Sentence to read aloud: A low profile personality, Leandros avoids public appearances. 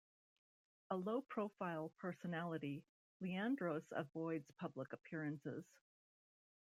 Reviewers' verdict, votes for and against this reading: accepted, 2, 1